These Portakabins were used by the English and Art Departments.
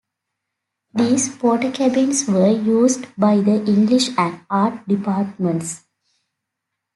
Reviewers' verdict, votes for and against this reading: accepted, 2, 0